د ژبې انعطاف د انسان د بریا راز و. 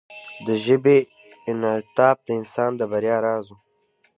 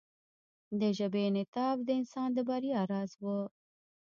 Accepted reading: first